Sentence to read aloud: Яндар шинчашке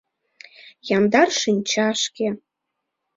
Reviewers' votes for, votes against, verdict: 2, 0, accepted